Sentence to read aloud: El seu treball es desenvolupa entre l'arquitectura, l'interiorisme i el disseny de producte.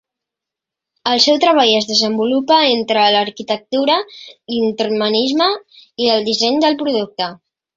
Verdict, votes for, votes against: rejected, 0, 2